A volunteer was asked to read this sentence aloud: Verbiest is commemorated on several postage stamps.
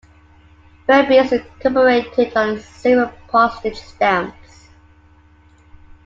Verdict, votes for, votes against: rejected, 1, 2